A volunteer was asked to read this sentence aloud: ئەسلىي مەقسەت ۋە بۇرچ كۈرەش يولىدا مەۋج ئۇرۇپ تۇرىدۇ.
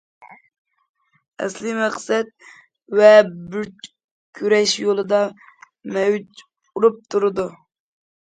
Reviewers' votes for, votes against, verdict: 1, 2, rejected